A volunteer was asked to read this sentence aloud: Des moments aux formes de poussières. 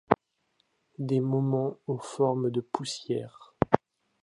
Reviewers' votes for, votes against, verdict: 2, 0, accepted